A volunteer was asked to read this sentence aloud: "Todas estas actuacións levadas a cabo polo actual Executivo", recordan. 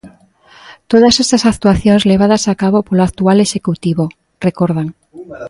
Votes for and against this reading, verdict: 2, 0, accepted